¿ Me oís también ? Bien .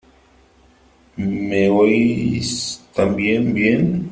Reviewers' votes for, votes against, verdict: 3, 1, accepted